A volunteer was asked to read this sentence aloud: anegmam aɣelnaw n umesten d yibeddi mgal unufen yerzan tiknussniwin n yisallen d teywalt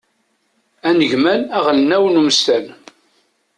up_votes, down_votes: 0, 2